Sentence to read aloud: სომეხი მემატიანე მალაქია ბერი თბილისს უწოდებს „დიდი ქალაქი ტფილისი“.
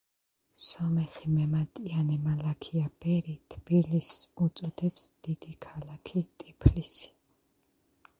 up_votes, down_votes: 1, 2